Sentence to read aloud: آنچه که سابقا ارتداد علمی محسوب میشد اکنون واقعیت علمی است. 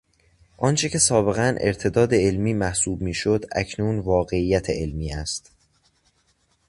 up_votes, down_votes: 2, 0